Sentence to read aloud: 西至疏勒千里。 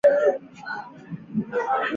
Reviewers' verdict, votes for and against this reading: rejected, 0, 4